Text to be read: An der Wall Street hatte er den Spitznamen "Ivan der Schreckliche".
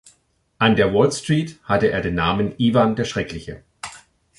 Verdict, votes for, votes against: rejected, 0, 2